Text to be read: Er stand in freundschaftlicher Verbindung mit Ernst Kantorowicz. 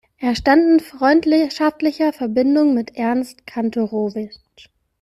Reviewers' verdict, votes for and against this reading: rejected, 0, 2